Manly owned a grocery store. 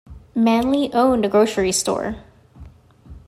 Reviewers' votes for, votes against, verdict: 2, 0, accepted